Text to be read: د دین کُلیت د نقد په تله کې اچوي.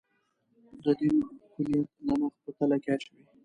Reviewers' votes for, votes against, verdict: 0, 2, rejected